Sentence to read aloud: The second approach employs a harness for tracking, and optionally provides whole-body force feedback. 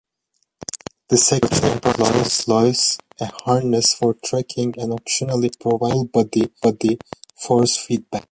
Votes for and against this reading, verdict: 0, 2, rejected